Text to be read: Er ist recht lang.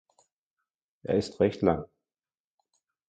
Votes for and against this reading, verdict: 2, 0, accepted